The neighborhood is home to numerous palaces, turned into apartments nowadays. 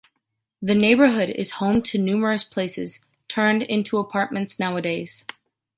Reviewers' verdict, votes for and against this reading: accepted, 2, 1